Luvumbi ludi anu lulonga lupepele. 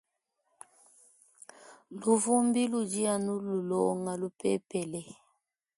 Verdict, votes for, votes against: accepted, 2, 0